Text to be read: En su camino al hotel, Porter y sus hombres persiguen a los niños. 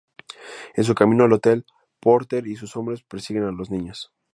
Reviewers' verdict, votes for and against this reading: accepted, 2, 0